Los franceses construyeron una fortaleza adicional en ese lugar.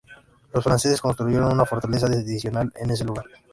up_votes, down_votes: 0, 2